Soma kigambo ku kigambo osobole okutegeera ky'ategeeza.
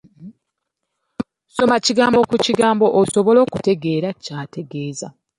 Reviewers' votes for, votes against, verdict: 2, 0, accepted